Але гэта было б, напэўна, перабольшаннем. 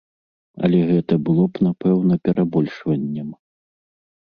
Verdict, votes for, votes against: rejected, 1, 3